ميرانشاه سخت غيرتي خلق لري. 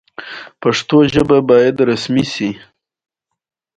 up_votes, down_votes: 0, 2